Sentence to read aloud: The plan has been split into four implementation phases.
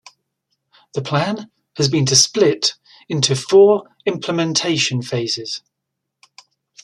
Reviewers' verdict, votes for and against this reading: rejected, 1, 2